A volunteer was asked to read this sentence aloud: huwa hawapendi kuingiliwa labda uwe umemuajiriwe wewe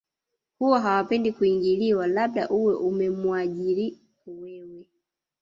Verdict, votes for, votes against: rejected, 0, 2